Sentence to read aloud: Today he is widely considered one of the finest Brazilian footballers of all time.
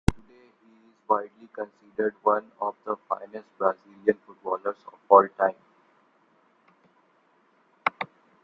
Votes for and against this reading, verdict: 0, 2, rejected